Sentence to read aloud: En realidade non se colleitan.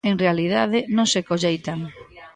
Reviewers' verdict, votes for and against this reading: rejected, 0, 2